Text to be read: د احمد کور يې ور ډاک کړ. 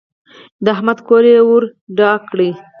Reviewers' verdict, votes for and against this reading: accepted, 4, 0